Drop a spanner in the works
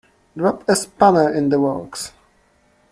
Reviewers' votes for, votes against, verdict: 2, 1, accepted